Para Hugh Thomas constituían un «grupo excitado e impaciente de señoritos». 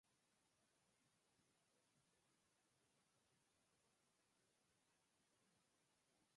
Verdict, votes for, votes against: rejected, 0, 4